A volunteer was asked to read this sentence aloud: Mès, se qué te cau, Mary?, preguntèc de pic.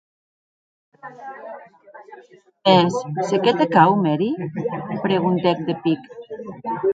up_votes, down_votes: 3, 5